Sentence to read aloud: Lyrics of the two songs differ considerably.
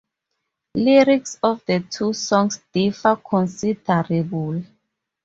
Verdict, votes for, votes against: rejected, 0, 2